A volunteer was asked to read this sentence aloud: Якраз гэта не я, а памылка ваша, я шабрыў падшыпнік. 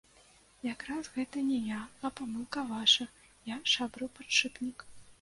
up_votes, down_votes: 2, 0